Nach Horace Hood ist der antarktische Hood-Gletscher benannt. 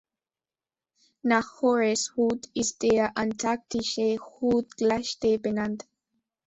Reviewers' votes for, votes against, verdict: 0, 2, rejected